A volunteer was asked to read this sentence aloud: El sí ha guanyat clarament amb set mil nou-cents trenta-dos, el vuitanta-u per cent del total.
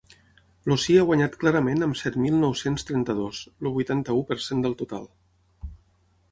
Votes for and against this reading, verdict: 0, 6, rejected